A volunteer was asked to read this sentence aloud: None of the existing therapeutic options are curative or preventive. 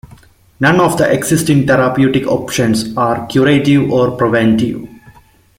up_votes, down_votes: 2, 0